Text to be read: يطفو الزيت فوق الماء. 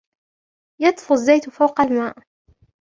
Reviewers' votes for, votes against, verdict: 2, 0, accepted